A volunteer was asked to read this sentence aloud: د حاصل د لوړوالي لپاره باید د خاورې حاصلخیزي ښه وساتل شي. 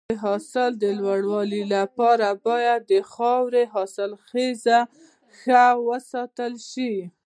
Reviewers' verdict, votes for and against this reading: accepted, 2, 0